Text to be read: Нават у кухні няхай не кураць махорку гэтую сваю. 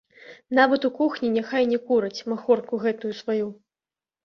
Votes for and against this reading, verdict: 1, 2, rejected